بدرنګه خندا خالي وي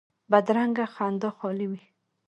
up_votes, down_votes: 2, 1